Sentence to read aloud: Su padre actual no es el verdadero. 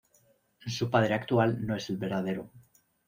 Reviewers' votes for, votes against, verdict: 2, 0, accepted